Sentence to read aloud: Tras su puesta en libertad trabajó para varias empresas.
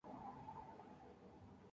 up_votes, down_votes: 0, 2